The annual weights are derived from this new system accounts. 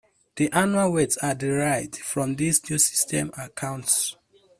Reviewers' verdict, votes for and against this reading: accepted, 2, 0